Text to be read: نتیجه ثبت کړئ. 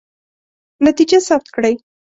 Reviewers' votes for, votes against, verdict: 3, 0, accepted